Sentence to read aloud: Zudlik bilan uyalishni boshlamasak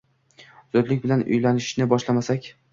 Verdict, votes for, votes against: accepted, 2, 0